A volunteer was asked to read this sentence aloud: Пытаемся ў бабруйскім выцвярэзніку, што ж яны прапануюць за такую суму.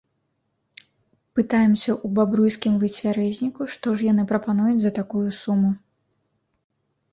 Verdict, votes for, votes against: accepted, 2, 0